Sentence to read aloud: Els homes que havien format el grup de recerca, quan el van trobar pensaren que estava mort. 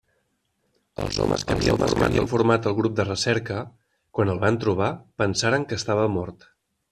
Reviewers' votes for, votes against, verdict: 0, 2, rejected